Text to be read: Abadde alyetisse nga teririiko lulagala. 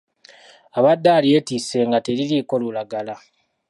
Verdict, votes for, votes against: accepted, 2, 0